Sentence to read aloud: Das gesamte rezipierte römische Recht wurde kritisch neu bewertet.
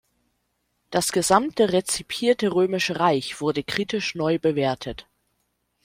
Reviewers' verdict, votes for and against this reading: rejected, 1, 2